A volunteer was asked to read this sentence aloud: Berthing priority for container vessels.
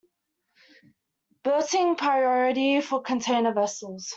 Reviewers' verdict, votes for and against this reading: accepted, 2, 0